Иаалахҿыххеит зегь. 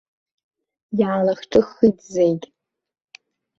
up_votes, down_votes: 1, 2